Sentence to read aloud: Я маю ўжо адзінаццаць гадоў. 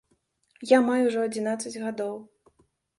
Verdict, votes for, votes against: accepted, 2, 0